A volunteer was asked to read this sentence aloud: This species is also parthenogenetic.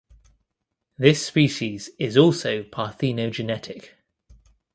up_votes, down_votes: 2, 0